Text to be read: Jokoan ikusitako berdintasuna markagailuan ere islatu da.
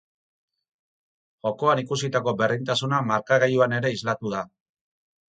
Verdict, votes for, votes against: accepted, 4, 0